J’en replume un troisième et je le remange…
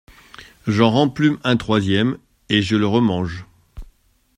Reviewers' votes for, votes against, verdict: 1, 2, rejected